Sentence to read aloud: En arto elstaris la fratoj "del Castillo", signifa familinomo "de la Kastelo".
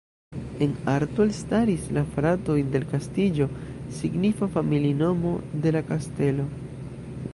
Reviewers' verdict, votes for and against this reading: rejected, 0, 2